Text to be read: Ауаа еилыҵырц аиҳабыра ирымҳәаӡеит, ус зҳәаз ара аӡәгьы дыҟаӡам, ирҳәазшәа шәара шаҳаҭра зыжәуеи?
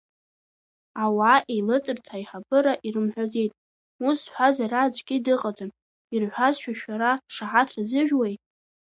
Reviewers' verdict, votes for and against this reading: accepted, 2, 1